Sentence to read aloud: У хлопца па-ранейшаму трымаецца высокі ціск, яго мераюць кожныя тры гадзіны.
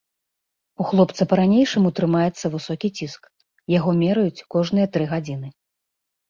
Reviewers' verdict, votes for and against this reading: accepted, 2, 0